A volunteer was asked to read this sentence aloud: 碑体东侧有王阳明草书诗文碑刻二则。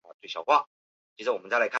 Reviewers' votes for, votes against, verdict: 0, 2, rejected